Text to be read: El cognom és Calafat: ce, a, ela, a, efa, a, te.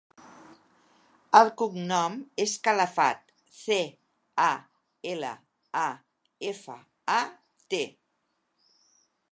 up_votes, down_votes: 3, 1